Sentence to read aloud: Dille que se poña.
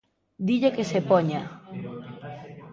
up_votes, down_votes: 1, 2